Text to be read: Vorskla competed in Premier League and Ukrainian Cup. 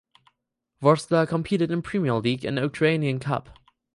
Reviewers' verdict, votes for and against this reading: accepted, 4, 0